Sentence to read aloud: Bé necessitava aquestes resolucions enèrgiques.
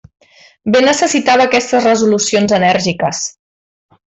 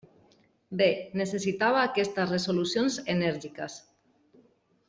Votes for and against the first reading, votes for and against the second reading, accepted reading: 2, 0, 0, 2, first